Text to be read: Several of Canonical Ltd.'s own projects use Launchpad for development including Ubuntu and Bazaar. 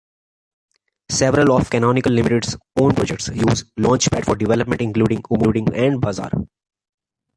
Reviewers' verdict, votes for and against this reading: rejected, 0, 2